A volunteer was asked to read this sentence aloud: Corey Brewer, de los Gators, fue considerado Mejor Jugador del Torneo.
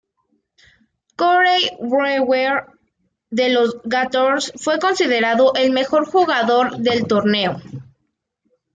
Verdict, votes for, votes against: accepted, 2, 1